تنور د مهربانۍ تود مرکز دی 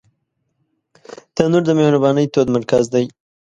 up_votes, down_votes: 2, 0